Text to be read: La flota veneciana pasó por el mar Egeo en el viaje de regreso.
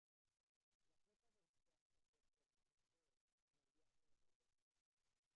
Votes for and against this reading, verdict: 0, 2, rejected